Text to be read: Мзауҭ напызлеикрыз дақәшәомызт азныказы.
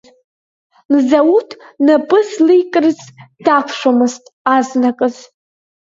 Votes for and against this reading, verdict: 1, 4, rejected